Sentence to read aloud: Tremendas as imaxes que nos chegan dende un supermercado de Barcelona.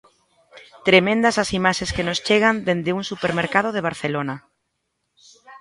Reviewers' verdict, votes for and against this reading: accepted, 2, 0